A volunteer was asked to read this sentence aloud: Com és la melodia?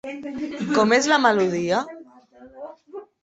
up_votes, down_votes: 1, 2